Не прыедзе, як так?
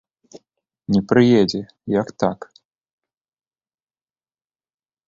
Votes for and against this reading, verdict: 2, 1, accepted